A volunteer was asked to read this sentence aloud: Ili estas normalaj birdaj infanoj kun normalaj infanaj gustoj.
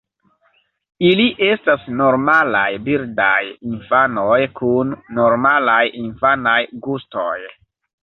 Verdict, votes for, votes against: accepted, 2, 1